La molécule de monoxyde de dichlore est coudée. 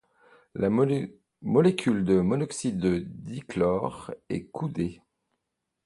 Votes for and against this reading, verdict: 0, 2, rejected